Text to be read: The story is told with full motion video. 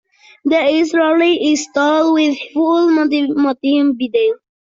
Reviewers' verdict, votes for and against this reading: rejected, 0, 3